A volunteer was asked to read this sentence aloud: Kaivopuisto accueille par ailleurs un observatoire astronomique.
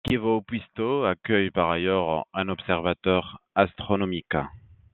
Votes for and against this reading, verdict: 0, 2, rejected